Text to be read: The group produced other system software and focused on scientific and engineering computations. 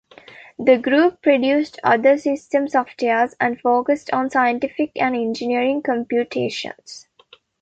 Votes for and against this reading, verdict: 2, 0, accepted